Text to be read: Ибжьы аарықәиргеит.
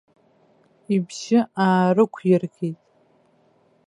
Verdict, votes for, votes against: rejected, 1, 2